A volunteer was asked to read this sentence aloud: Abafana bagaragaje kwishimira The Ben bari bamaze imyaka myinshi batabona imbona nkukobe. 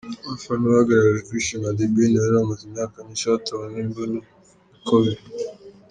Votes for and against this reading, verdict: 0, 2, rejected